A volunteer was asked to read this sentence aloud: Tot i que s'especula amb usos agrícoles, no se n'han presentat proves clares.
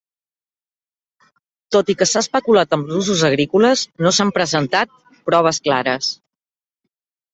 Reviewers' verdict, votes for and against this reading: rejected, 1, 2